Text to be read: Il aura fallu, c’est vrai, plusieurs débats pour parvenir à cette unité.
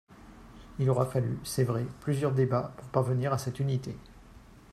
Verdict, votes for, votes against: accepted, 3, 0